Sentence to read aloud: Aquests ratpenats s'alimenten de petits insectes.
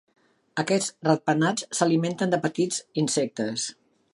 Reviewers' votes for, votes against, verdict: 3, 0, accepted